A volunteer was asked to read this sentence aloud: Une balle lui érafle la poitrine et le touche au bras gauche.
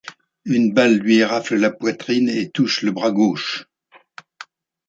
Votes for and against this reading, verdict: 0, 2, rejected